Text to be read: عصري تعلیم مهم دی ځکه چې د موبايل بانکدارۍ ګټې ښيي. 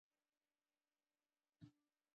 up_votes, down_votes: 0, 2